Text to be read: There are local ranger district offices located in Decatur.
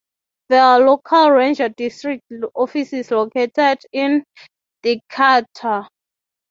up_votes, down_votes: 6, 0